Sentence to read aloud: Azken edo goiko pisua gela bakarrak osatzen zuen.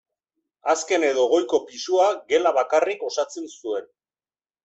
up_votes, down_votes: 0, 2